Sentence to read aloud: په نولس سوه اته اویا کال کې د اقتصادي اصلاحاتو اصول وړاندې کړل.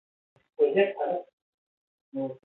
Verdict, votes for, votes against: rejected, 1, 3